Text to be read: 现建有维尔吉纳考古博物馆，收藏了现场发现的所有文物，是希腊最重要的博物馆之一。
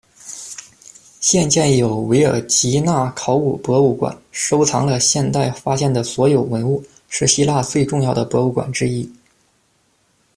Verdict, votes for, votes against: rejected, 1, 3